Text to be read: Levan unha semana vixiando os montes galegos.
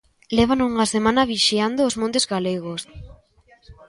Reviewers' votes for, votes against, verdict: 2, 0, accepted